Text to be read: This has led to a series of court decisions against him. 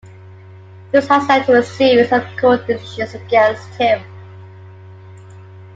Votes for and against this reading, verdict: 0, 2, rejected